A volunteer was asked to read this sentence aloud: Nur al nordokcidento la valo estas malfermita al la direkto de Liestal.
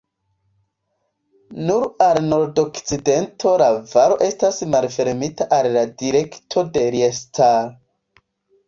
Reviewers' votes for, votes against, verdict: 2, 0, accepted